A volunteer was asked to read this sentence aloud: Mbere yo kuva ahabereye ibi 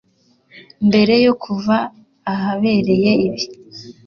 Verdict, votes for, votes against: accepted, 2, 0